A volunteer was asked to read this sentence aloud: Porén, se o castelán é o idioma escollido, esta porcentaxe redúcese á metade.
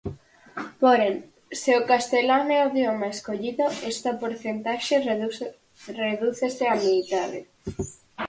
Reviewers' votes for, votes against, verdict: 0, 4, rejected